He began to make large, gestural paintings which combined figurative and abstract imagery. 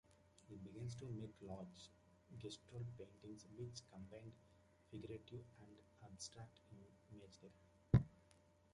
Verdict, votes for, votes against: rejected, 0, 2